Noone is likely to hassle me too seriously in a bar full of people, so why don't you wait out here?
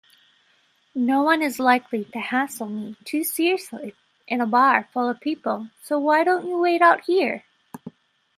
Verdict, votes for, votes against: accepted, 2, 0